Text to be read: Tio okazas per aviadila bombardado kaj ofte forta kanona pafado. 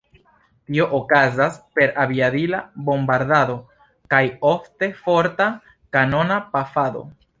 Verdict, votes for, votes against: accepted, 2, 1